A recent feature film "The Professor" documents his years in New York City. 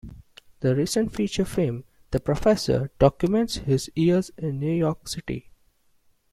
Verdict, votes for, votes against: rejected, 0, 2